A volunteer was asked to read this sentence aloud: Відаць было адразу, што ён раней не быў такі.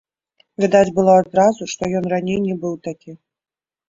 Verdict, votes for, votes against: accepted, 4, 0